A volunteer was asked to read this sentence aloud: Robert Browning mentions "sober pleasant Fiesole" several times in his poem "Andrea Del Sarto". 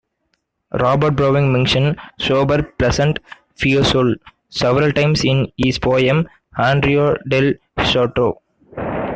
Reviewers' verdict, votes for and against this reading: accepted, 2, 1